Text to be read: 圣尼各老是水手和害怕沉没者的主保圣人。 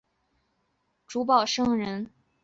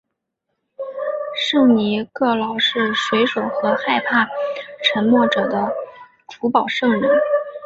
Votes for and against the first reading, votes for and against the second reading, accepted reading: 0, 2, 5, 0, second